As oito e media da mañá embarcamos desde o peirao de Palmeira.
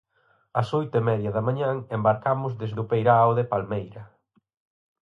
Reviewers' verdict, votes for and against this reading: rejected, 2, 4